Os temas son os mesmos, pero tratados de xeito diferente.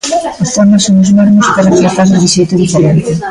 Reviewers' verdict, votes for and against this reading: rejected, 1, 2